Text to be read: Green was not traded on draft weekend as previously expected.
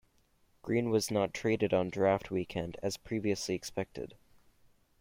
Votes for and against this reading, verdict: 2, 0, accepted